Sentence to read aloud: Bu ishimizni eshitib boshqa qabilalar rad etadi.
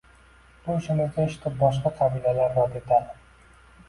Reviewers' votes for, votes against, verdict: 1, 2, rejected